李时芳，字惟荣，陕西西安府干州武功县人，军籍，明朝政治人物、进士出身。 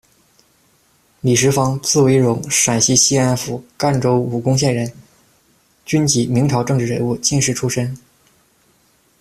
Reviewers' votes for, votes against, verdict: 2, 0, accepted